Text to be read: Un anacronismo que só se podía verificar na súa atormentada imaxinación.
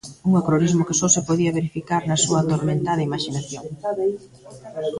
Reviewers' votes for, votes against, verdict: 1, 2, rejected